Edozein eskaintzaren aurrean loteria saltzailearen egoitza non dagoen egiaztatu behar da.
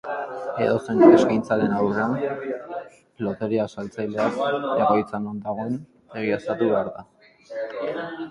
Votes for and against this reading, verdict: 0, 2, rejected